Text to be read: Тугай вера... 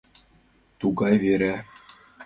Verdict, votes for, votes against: accepted, 2, 1